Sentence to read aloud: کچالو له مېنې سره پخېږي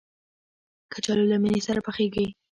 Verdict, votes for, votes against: accepted, 2, 0